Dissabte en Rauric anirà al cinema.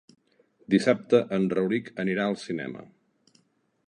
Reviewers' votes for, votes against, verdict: 2, 0, accepted